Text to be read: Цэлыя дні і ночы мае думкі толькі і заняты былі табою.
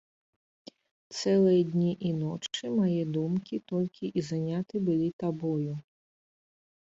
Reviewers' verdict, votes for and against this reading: accepted, 2, 1